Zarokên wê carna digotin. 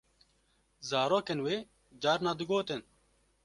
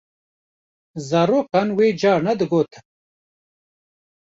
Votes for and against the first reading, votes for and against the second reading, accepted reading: 2, 0, 0, 2, first